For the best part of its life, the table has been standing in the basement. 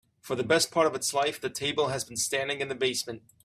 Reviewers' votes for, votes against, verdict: 2, 0, accepted